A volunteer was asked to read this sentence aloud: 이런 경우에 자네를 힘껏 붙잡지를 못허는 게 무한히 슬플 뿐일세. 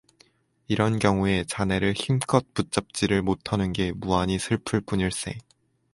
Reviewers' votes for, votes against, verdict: 4, 0, accepted